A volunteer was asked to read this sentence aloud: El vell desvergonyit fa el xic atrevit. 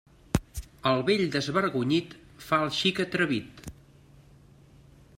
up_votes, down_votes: 3, 0